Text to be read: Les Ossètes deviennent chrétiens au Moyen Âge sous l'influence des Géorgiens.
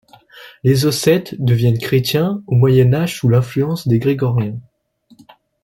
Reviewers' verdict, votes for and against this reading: rejected, 0, 2